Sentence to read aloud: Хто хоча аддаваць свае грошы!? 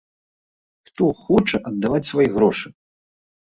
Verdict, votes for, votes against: accepted, 2, 0